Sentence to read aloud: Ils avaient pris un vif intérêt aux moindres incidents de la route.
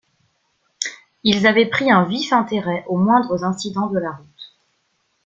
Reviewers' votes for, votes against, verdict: 2, 0, accepted